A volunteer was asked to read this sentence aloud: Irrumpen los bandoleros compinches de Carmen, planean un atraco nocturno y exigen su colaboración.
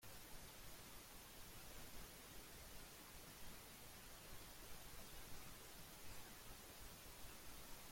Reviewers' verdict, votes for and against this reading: rejected, 0, 2